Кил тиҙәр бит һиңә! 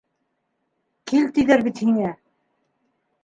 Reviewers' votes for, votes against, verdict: 2, 1, accepted